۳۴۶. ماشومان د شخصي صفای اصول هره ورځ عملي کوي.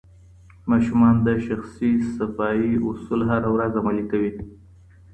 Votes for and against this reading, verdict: 0, 2, rejected